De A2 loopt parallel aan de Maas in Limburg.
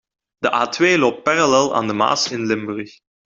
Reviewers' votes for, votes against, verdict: 0, 2, rejected